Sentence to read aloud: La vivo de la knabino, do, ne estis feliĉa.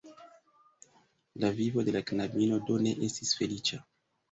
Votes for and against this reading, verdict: 1, 2, rejected